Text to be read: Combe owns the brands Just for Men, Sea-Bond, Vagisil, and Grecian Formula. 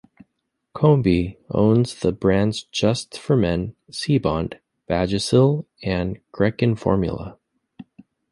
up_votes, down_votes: 1, 2